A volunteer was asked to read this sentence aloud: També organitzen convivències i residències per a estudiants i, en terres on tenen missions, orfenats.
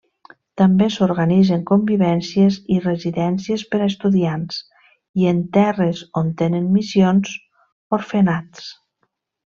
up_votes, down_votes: 1, 2